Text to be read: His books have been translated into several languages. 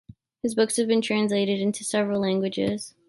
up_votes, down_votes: 2, 0